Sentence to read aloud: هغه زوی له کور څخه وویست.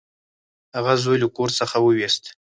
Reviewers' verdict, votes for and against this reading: rejected, 0, 4